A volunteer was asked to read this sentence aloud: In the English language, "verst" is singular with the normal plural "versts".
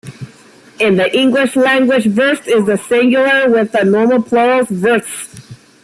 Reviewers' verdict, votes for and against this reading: rejected, 0, 2